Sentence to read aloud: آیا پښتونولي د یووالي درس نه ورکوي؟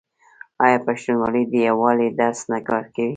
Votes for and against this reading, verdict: 1, 2, rejected